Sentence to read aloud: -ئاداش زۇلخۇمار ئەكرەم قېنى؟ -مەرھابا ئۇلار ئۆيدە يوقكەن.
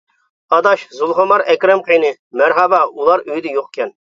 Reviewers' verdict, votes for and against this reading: accepted, 2, 0